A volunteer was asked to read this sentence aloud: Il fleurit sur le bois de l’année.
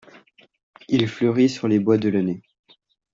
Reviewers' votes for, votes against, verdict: 1, 2, rejected